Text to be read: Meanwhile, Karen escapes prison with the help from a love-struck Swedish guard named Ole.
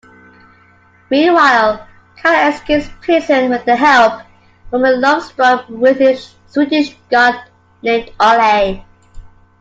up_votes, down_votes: 1, 2